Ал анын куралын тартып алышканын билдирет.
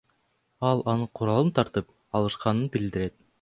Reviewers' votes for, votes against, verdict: 2, 0, accepted